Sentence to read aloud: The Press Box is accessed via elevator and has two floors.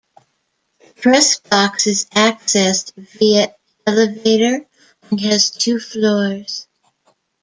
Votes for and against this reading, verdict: 0, 2, rejected